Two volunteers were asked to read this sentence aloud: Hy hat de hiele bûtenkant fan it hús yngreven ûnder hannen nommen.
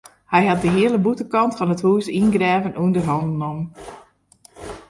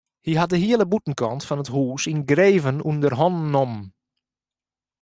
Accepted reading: second